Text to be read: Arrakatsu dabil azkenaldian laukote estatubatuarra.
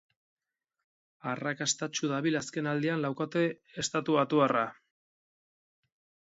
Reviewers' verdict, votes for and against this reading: rejected, 2, 4